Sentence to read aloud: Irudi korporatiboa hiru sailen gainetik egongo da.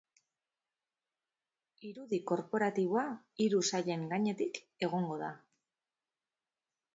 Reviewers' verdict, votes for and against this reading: accepted, 4, 0